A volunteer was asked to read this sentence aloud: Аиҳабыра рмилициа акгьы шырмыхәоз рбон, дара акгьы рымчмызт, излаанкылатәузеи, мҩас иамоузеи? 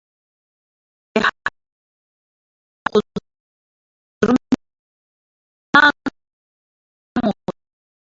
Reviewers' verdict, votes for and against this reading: rejected, 0, 2